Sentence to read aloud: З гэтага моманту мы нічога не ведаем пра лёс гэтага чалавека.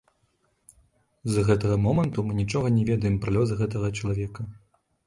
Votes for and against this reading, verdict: 1, 2, rejected